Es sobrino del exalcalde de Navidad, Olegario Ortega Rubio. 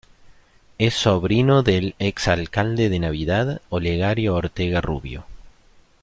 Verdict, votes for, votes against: accepted, 2, 0